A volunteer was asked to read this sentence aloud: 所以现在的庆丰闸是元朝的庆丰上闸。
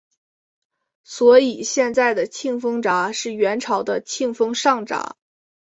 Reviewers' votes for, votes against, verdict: 9, 0, accepted